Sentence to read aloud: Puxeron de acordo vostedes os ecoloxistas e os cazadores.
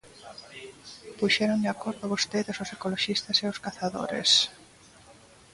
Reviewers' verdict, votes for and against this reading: accepted, 2, 0